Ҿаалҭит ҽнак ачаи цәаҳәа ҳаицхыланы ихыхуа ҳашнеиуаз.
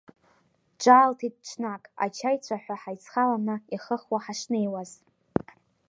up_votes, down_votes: 2, 0